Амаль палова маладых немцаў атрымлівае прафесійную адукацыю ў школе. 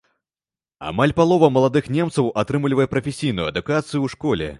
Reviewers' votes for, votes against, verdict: 2, 0, accepted